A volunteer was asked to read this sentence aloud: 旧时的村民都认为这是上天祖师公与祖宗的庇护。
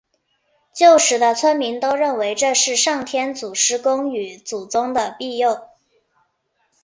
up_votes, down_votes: 0, 3